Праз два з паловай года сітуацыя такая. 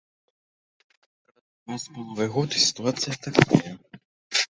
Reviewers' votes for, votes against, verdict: 0, 2, rejected